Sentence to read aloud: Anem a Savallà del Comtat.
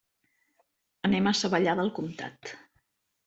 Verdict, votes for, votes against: accepted, 2, 0